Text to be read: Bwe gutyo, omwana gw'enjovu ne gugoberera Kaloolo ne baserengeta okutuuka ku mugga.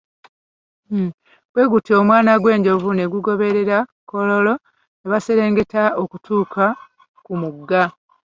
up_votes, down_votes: 3, 1